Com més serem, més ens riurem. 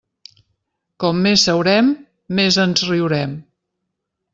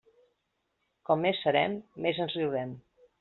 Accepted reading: second